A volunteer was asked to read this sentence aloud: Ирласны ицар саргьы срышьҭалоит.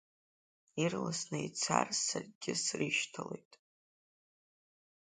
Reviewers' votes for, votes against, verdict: 3, 0, accepted